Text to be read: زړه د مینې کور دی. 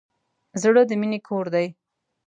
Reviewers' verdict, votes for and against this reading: accepted, 2, 0